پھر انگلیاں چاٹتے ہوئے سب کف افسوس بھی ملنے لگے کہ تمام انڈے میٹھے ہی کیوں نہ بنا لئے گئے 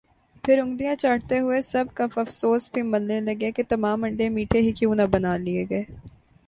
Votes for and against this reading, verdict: 3, 1, accepted